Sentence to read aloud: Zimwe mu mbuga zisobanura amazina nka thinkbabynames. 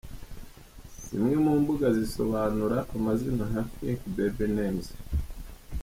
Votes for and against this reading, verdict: 1, 2, rejected